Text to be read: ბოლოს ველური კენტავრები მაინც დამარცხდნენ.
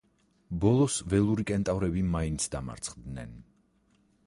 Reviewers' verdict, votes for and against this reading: rejected, 2, 4